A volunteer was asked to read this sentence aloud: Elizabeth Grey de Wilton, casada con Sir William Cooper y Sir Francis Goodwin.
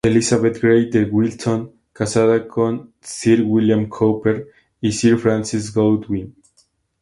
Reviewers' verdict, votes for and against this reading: accepted, 2, 0